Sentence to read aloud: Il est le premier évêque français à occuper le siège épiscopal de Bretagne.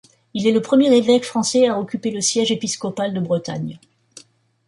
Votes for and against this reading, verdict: 2, 0, accepted